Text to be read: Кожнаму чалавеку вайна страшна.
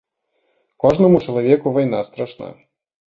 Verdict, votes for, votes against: accepted, 2, 1